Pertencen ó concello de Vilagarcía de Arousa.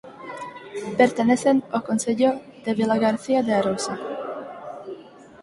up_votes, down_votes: 2, 4